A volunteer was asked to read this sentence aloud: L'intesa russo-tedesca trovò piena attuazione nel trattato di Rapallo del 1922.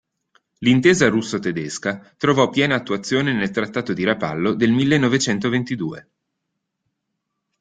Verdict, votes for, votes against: rejected, 0, 2